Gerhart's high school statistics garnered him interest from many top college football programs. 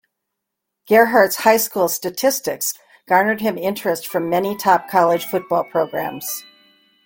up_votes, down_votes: 3, 0